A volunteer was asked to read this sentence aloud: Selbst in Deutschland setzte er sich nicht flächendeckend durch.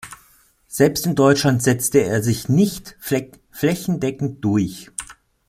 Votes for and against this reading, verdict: 1, 2, rejected